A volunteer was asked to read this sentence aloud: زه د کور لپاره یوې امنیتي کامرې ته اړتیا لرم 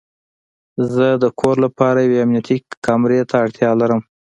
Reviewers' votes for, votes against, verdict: 2, 0, accepted